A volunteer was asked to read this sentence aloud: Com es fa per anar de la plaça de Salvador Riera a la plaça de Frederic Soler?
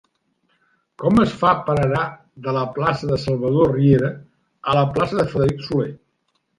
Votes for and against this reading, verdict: 3, 0, accepted